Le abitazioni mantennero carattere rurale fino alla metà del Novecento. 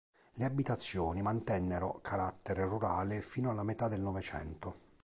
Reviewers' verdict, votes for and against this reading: accepted, 3, 0